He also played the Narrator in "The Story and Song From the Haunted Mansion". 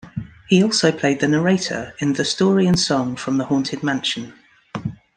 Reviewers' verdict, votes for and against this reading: accepted, 2, 0